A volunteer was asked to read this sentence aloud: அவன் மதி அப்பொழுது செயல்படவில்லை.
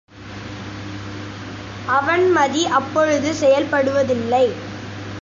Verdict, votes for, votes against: rejected, 0, 2